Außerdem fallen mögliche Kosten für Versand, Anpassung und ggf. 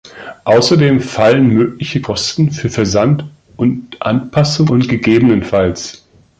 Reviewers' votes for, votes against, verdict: 0, 3, rejected